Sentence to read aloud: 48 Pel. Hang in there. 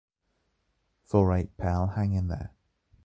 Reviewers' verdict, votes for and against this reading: rejected, 0, 2